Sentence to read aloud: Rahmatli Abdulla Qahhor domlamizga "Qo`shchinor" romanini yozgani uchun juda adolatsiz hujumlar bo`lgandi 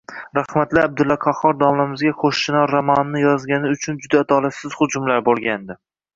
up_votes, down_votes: 1, 2